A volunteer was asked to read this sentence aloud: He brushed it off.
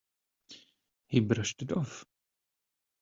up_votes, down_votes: 1, 2